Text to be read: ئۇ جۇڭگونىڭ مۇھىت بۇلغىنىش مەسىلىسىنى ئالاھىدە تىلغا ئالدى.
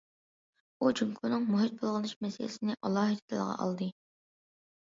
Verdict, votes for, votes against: rejected, 1, 2